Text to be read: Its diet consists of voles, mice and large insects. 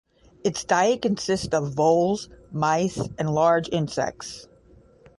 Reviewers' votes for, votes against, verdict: 0, 5, rejected